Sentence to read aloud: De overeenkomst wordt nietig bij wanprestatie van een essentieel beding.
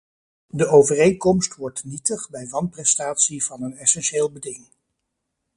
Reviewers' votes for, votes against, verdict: 2, 0, accepted